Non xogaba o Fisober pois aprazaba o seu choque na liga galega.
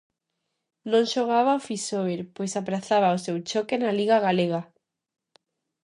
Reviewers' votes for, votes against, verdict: 2, 0, accepted